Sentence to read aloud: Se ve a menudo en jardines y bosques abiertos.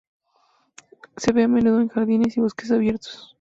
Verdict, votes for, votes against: accepted, 4, 0